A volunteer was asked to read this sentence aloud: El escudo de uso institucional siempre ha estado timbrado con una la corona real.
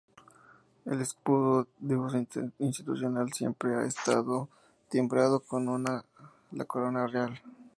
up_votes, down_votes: 4, 0